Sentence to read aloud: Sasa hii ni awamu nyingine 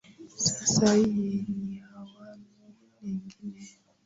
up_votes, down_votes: 0, 2